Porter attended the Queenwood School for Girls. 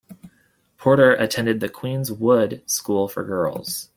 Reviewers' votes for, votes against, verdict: 0, 2, rejected